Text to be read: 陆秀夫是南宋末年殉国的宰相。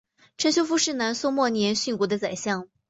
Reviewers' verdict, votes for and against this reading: accepted, 2, 0